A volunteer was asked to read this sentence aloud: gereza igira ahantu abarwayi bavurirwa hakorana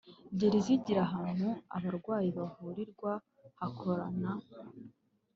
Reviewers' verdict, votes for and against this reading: accepted, 2, 0